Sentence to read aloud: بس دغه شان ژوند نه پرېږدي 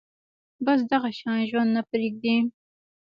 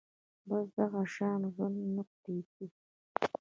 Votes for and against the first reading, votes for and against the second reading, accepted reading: 3, 0, 0, 2, first